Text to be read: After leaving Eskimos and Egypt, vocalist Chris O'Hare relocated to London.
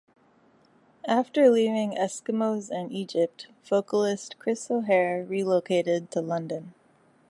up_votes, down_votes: 2, 0